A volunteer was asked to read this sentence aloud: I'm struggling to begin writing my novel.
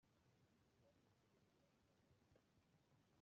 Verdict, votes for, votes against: rejected, 0, 2